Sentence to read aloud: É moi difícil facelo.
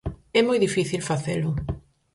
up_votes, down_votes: 4, 0